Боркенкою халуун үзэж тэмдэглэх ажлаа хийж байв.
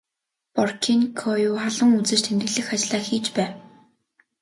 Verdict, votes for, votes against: rejected, 0, 2